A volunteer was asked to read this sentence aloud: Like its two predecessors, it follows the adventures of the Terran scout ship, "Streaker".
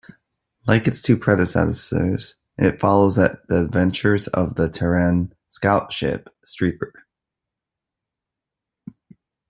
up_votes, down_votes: 1, 2